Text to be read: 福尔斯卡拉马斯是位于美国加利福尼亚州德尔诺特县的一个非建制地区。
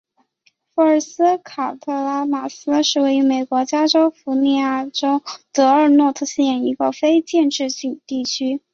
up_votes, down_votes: 2, 0